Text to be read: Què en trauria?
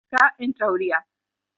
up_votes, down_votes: 2, 0